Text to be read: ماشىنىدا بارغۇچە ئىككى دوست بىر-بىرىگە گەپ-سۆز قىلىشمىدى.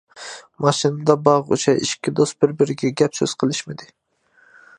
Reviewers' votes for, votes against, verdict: 2, 0, accepted